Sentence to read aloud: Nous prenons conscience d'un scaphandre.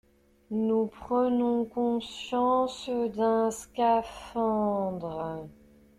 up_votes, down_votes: 0, 2